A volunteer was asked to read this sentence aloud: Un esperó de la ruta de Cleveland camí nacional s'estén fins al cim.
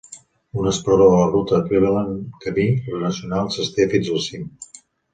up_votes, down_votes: 1, 2